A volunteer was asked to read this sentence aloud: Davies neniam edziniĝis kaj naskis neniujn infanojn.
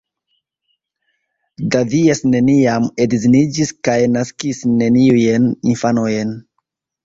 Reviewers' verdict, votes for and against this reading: rejected, 1, 2